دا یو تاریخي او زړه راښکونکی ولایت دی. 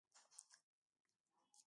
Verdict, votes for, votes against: rejected, 1, 2